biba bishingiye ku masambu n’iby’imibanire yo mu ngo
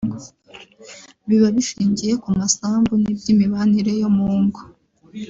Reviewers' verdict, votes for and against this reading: rejected, 1, 2